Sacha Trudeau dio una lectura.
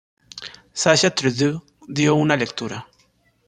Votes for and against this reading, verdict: 0, 2, rejected